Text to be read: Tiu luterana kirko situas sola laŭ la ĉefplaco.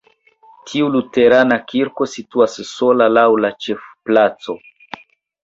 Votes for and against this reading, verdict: 2, 1, accepted